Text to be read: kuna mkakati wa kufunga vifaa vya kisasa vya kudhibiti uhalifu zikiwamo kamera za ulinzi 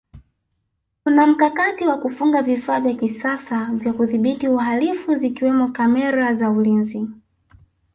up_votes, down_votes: 0, 2